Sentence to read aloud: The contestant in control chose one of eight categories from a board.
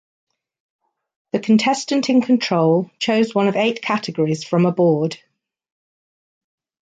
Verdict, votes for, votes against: accepted, 2, 0